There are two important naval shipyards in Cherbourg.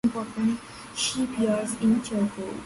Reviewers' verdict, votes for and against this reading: rejected, 0, 2